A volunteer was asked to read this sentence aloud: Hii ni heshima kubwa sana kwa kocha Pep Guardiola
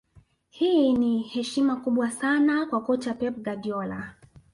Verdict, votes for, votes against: rejected, 1, 2